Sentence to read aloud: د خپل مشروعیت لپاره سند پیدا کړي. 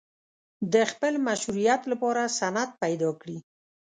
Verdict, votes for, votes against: accepted, 4, 0